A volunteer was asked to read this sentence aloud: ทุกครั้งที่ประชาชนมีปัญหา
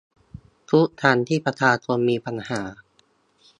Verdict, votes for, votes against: rejected, 0, 2